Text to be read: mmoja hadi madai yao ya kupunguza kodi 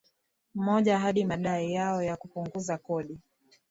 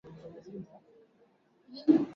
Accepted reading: first